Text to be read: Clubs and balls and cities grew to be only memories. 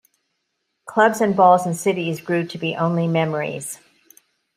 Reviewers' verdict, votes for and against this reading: accepted, 2, 0